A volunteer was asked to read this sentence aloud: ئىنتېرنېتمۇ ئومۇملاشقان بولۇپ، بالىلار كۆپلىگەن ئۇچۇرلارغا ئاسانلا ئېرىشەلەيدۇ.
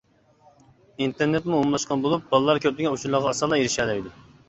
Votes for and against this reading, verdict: 2, 1, accepted